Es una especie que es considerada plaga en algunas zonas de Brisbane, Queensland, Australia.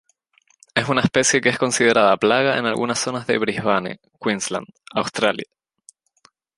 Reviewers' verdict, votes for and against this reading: accepted, 4, 0